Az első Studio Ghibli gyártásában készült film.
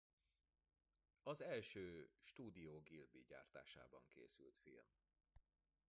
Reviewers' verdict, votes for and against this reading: rejected, 0, 2